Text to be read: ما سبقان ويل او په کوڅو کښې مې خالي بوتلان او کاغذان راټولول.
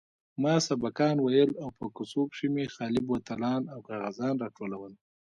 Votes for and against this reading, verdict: 2, 1, accepted